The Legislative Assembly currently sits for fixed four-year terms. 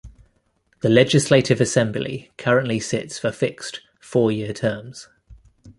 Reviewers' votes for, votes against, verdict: 2, 0, accepted